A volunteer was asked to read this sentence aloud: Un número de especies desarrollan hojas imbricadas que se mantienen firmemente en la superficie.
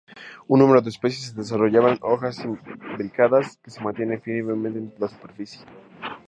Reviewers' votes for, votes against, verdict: 0, 2, rejected